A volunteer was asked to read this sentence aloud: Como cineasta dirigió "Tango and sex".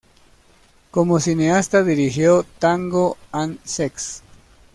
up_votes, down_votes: 2, 0